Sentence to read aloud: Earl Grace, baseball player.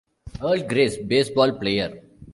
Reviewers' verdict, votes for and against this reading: accepted, 2, 0